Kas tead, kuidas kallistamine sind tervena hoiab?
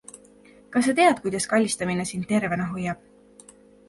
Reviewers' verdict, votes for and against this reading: rejected, 1, 2